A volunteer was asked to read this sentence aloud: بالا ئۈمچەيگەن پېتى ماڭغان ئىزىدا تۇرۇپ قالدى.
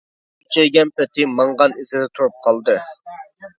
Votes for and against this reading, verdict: 0, 2, rejected